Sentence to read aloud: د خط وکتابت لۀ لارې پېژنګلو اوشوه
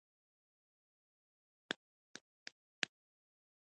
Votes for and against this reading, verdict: 1, 2, rejected